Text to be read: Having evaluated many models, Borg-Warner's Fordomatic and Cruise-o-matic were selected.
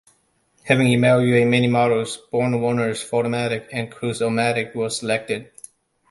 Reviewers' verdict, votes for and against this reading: rejected, 1, 2